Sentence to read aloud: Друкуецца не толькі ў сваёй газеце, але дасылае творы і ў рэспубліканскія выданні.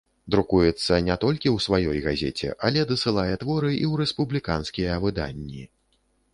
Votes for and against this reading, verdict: 2, 0, accepted